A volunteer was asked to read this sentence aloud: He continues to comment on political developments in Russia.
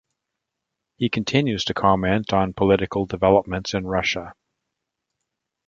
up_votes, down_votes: 2, 0